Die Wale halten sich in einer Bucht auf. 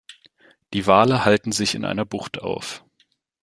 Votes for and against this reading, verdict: 2, 0, accepted